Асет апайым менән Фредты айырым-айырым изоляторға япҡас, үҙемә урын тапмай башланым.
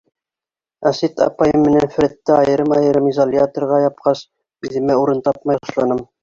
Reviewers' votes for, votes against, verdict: 3, 0, accepted